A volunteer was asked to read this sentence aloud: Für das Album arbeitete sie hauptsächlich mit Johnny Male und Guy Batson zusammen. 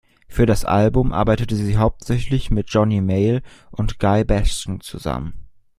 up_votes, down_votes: 1, 2